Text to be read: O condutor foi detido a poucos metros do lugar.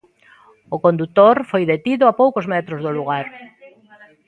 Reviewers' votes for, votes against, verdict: 2, 0, accepted